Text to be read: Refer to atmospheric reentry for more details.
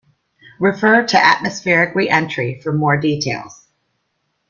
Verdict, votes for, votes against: accepted, 2, 0